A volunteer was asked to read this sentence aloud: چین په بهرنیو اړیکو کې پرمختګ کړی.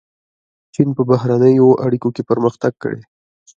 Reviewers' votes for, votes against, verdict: 0, 2, rejected